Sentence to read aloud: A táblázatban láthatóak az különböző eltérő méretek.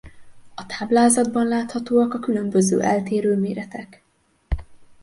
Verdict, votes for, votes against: rejected, 0, 2